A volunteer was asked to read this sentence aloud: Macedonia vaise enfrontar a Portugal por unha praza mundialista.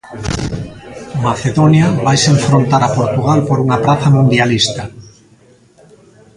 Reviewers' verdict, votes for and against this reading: rejected, 1, 2